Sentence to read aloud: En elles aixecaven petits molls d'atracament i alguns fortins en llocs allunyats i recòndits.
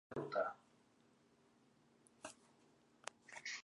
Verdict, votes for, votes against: rejected, 0, 5